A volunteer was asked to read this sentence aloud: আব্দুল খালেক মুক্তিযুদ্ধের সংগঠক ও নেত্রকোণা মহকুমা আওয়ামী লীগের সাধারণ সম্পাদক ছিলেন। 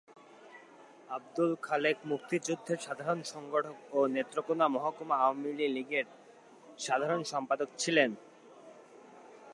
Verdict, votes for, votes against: rejected, 3, 6